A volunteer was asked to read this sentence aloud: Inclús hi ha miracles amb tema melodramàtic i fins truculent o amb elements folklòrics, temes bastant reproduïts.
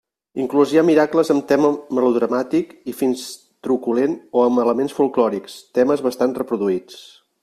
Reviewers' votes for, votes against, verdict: 1, 2, rejected